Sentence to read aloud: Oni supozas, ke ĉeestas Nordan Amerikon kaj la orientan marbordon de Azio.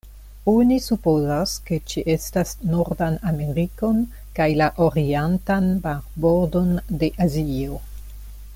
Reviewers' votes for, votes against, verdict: 0, 2, rejected